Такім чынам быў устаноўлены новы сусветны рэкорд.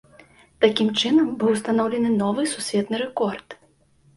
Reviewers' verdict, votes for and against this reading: accepted, 2, 0